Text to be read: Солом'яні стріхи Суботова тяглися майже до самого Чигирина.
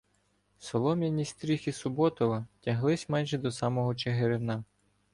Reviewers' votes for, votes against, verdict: 1, 2, rejected